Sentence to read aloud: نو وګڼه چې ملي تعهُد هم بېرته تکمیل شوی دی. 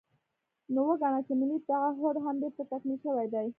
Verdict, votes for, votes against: rejected, 0, 2